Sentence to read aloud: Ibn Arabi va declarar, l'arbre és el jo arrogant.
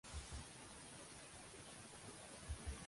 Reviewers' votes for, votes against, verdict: 0, 2, rejected